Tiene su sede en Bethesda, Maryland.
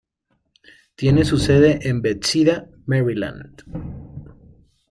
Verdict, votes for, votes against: rejected, 1, 2